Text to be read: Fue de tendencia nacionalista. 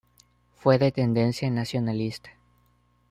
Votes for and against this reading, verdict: 2, 0, accepted